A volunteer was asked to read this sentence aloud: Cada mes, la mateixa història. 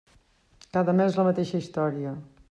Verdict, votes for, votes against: accepted, 3, 0